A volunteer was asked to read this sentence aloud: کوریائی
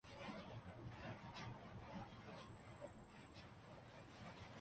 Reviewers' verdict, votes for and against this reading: rejected, 0, 2